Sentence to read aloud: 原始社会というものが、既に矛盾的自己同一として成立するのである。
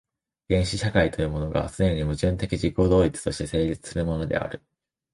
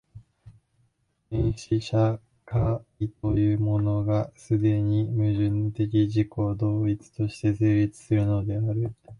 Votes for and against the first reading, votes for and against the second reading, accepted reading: 1, 2, 2, 1, second